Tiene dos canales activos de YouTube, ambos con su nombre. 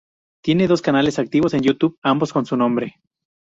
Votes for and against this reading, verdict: 0, 2, rejected